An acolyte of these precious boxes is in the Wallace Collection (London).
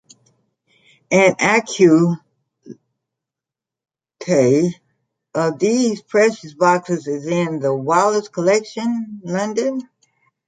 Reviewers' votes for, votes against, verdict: 0, 2, rejected